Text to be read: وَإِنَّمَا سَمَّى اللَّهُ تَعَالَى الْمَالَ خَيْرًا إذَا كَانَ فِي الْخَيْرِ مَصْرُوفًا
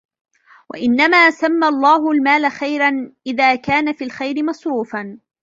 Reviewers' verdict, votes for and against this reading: rejected, 0, 2